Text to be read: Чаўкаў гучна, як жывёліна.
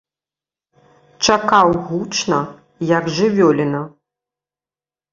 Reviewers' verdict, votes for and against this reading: rejected, 1, 2